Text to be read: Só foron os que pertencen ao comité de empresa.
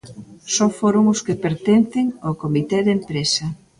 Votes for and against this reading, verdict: 2, 0, accepted